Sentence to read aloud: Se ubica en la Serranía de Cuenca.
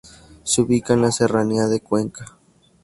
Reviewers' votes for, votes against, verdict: 2, 0, accepted